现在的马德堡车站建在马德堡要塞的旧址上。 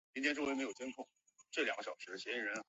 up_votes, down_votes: 0, 3